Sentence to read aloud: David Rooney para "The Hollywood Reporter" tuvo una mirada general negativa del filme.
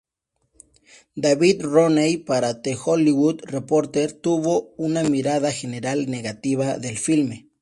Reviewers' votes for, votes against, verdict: 2, 0, accepted